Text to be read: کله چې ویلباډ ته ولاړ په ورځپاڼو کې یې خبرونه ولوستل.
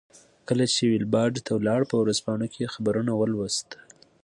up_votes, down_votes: 2, 0